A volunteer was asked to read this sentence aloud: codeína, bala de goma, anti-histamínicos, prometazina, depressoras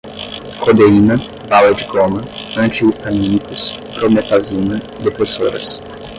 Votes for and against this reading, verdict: 0, 5, rejected